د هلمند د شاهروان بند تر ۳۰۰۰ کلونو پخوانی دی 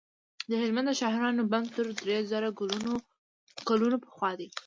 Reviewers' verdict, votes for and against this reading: rejected, 0, 2